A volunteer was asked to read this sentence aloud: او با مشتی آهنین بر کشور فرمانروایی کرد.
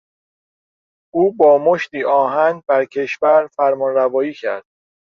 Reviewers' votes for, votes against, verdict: 0, 2, rejected